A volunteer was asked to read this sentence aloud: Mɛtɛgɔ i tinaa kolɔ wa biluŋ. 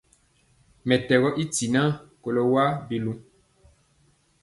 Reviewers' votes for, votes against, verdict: 3, 0, accepted